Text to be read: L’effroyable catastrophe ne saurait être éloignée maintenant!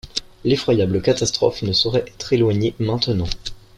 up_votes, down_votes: 2, 0